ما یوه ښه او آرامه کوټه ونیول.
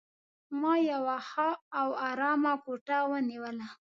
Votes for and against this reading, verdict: 2, 0, accepted